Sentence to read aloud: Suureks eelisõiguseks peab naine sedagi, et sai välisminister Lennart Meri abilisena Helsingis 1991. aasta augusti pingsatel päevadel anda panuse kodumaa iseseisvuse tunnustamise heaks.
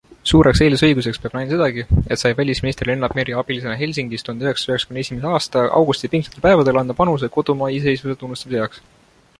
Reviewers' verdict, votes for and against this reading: rejected, 0, 2